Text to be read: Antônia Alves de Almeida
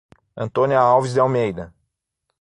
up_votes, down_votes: 3, 6